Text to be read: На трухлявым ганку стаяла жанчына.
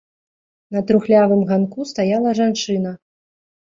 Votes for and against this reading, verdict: 0, 3, rejected